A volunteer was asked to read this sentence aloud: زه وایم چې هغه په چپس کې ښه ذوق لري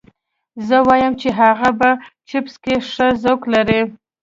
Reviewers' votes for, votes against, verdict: 2, 0, accepted